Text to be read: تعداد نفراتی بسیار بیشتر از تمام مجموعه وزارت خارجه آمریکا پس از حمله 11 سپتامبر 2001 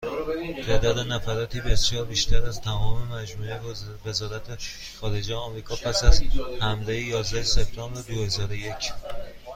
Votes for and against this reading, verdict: 0, 2, rejected